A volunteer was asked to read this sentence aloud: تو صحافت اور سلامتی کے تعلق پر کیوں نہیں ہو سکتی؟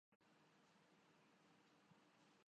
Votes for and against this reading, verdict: 1, 2, rejected